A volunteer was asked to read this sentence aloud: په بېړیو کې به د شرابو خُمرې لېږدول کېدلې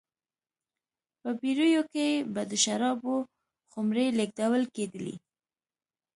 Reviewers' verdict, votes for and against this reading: accepted, 2, 0